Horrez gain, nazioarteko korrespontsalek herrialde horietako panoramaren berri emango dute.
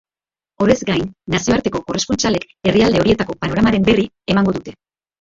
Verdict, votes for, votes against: rejected, 1, 2